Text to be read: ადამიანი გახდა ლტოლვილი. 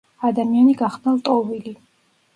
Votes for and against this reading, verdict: 2, 0, accepted